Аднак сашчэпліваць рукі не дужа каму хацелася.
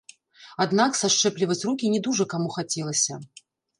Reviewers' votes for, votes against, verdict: 2, 0, accepted